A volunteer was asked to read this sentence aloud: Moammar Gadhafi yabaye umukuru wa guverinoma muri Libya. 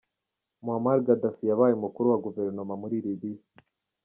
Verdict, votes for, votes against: rejected, 0, 2